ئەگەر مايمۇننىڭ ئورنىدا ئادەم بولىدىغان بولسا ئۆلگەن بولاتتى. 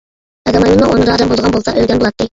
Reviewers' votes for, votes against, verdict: 0, 2, rejected